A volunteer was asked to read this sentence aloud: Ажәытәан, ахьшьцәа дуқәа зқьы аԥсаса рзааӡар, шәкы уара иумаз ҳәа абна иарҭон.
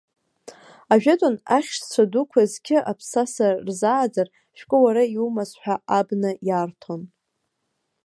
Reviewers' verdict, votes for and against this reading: accepted, 2, 1